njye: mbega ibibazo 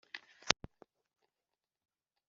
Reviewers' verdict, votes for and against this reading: accepted, 2, 1